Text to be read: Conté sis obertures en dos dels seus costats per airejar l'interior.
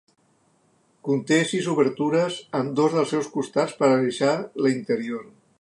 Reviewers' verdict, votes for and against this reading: rejected, 1, 2